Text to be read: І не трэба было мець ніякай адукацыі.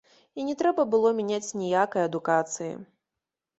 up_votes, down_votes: 0, 3